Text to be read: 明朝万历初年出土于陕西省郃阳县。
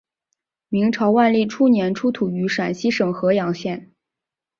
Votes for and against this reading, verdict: 4, 0, accepted